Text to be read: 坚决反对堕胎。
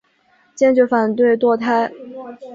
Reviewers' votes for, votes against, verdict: 2, 0, accepted